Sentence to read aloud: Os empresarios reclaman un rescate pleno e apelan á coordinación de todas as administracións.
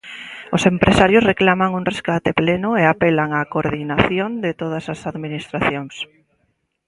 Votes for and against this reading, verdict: 2, 0, accepted